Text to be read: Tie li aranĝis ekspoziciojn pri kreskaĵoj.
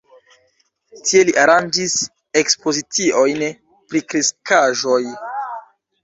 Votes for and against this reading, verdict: 3, 1, accepted